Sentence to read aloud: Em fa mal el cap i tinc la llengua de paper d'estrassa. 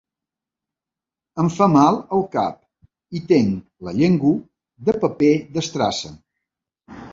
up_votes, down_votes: 0, 2